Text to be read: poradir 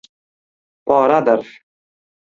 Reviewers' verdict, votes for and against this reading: rejected, 1, 2